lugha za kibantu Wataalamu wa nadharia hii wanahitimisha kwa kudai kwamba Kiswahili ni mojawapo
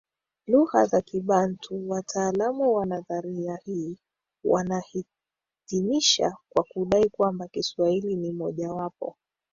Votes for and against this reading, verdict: 2, 1, accepted